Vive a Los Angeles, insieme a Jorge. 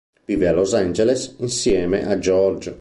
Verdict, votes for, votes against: rejected, 0, 2